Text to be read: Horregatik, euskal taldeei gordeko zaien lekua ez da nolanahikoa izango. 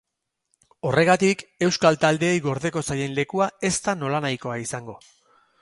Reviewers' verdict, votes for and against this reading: accepted, 4, 0